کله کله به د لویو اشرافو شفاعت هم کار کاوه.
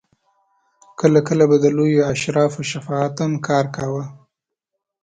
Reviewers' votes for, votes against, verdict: 2, 0, accepted